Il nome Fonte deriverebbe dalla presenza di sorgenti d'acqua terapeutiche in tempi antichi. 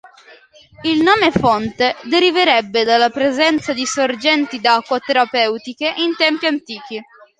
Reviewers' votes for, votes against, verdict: 3, 0, accepted